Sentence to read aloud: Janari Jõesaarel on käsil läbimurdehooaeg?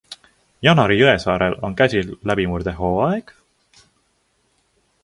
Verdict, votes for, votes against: accepted, 2, 0